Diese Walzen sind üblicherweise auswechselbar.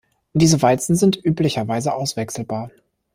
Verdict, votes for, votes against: accepted, 2, 0